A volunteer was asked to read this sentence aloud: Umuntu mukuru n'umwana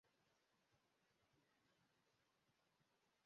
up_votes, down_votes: 0, 2